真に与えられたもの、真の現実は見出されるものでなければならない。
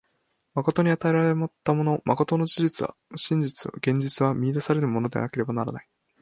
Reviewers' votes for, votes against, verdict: 1, 2, rejected